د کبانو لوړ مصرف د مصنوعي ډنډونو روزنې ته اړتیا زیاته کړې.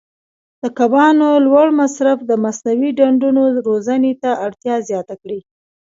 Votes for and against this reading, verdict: 1, 2, rejected